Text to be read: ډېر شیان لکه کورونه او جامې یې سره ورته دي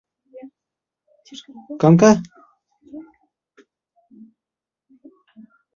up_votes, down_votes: 0, 2